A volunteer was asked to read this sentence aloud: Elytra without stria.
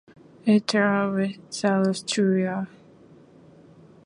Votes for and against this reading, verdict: 1, 2, rejected